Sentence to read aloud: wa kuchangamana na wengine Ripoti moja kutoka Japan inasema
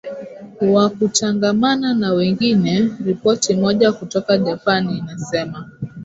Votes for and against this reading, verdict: 0, 2, rejected